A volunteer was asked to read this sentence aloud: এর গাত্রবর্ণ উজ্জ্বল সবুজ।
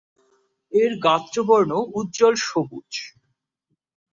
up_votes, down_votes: 2, 0